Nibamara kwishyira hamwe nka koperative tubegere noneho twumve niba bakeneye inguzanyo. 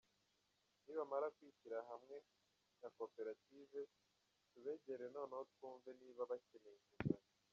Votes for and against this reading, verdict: 0, 2, rejected